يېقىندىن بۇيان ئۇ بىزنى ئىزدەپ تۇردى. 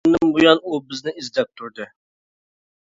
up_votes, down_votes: 0, 2